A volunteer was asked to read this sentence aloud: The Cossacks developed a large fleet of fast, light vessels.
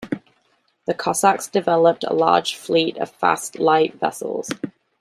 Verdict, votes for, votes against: accepted, 2, 0